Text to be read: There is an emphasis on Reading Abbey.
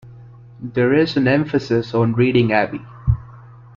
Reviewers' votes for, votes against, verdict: 2, 0, accepted